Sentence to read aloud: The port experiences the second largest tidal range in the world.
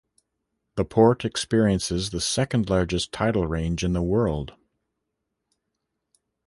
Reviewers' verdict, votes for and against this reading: accepted, 2, 0